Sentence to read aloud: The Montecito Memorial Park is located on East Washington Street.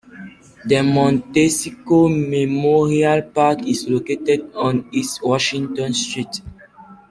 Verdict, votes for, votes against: rejected, 1, 2